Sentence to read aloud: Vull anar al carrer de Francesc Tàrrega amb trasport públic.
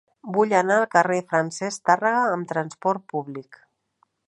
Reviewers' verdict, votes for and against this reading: accepted, 2, 1